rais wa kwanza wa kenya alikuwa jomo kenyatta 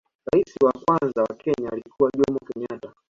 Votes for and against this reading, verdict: 2, 0, accepted